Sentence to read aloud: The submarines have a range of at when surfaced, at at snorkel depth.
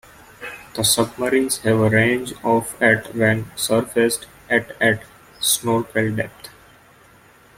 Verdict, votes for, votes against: accepted, 2, 1